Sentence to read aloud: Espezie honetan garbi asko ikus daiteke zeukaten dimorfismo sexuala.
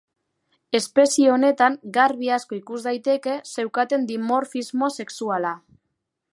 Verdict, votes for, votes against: accepted, 2, 0